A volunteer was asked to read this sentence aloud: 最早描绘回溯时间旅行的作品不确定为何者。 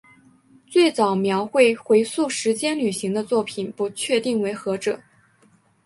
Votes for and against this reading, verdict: 3, 2, accepted